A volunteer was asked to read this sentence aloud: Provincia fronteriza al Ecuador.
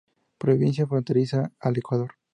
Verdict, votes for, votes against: accepted, 4, 0